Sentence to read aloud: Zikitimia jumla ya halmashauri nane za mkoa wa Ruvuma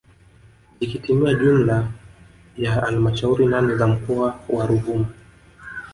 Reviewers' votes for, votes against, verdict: 0, 2, rejected